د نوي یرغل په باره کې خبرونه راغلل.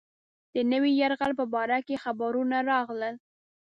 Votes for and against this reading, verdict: 2, 0, accepted